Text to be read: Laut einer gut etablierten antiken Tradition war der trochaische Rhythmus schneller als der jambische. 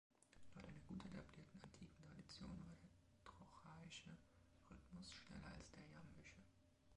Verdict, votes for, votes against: rejected, 0, 2